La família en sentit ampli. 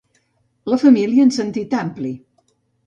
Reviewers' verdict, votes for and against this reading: accepted, 3, 0